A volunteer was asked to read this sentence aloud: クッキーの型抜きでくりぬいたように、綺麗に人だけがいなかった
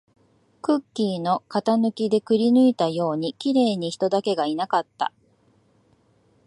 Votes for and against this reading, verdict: 2, 0, accepted